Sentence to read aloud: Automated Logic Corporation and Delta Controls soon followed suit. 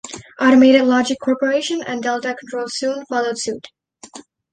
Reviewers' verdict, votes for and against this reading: accepted, 2, 0